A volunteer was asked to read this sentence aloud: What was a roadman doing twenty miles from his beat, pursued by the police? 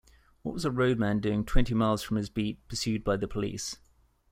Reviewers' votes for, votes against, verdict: 2, 0, accepted